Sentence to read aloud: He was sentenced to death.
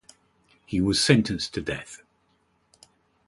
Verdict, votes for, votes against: accepted, 2, 0